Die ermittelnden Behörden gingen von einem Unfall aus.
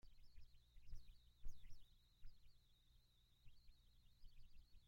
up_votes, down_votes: 0, 2